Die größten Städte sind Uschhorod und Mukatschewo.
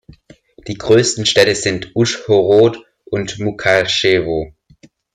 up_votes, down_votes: 2, 0